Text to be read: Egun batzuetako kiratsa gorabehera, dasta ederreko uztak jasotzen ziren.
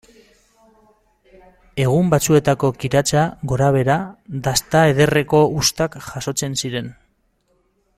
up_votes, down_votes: 1, 2